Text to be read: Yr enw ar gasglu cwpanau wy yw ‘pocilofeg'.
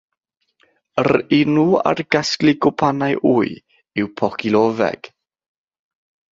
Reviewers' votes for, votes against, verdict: 0, 3, rejected